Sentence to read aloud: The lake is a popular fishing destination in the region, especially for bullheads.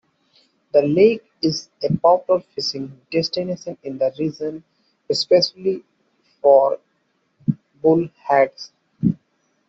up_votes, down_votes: 0, 2